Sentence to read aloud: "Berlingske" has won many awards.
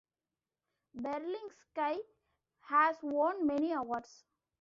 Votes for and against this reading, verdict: 0, 2, rejected